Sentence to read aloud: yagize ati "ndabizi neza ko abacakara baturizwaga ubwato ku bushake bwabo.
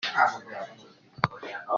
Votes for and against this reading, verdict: 0, 2, rejected